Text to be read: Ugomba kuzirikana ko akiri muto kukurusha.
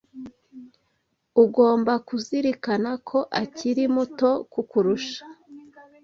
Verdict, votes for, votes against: accepted, 2, 0